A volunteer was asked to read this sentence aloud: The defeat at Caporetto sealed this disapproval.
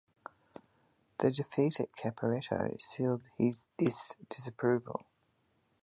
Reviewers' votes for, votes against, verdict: 0, 2, rejected